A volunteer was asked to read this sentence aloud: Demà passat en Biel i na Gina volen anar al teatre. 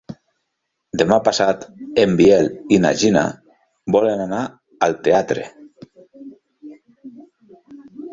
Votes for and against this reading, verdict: 3, 0, accepted